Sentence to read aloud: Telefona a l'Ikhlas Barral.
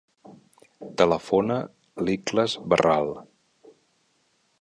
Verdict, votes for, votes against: rejected, 1, 3